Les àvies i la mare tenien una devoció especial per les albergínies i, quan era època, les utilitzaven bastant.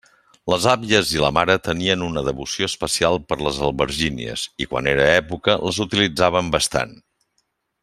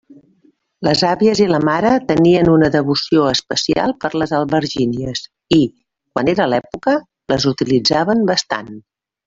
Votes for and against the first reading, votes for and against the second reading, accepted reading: 3, 0, 0, 2, first